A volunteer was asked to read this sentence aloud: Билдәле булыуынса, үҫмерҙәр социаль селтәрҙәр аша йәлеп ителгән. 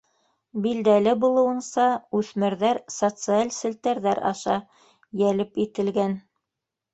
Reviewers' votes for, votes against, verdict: 1, 2, rejected